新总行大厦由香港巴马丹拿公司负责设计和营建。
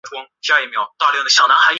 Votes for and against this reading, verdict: 0, 2, rejected